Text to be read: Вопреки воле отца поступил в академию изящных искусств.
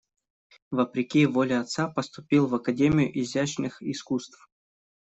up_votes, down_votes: 2, 0